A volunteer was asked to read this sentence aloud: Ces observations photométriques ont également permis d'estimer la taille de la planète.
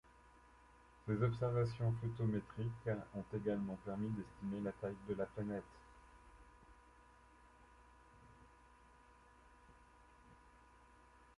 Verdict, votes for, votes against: rejected, 1, 2